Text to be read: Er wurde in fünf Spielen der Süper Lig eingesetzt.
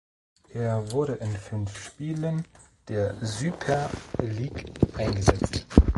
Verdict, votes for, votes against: rejected, 1, 2